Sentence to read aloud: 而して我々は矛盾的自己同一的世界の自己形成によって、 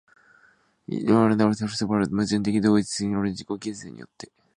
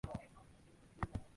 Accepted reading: first